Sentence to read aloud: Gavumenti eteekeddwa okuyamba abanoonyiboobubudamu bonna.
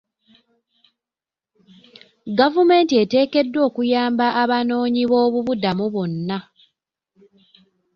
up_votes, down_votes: 2, 0